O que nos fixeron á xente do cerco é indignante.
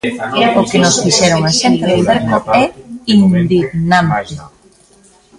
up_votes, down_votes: 0, 2